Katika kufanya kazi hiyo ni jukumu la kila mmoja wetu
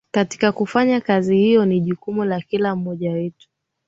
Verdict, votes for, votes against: accepted, 2, 0